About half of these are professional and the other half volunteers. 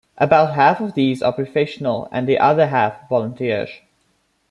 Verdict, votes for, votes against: rejected, 1, 2